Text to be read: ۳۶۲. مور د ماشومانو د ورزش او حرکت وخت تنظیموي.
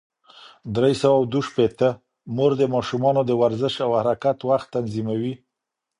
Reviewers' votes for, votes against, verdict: 0, 2, rejected